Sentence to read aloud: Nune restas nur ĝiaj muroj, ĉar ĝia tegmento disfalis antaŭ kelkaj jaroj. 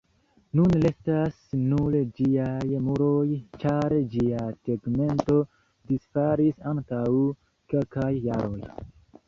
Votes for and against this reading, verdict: 1, 2, rejected